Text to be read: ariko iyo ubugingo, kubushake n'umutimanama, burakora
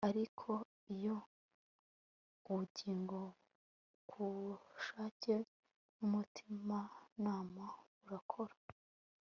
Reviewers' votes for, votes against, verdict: 1, 2, rejected